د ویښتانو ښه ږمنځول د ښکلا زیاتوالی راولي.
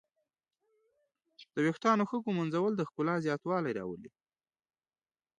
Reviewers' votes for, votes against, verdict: 2, 0, accepted